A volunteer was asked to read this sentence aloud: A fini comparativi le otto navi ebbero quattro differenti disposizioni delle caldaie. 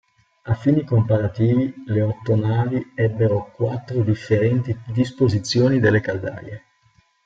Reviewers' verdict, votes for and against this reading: rejected, 0, 2